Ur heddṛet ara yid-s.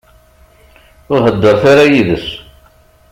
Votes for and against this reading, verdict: 2, 0, accepted